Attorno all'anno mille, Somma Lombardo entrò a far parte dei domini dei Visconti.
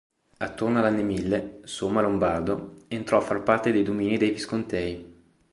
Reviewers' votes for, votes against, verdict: 0, 2, rejected